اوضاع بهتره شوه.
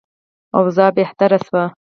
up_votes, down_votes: 2, 4